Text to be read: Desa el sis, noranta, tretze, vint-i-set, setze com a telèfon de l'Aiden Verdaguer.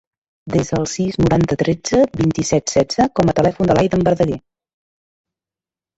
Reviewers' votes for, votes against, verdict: 2, 0, accepted